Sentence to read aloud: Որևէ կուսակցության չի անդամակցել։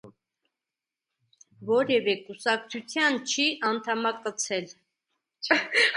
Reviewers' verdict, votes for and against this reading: rejected, 1, 2